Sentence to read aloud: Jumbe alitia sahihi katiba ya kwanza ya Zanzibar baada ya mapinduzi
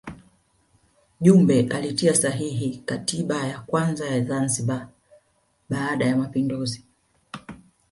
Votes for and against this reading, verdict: 2, 0, accepted